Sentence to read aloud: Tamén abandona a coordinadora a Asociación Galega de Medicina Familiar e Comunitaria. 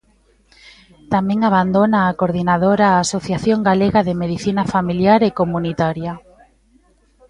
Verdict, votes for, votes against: rejected, 1, 2